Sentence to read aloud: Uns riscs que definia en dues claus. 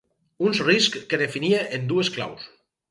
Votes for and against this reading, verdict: 4, 0, accepted